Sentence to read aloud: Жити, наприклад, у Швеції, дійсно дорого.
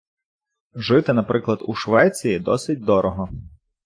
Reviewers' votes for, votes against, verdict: 0, 2, rejected